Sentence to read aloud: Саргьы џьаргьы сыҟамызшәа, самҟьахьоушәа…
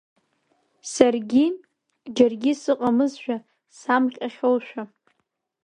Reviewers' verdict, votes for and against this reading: rejected, 1, 2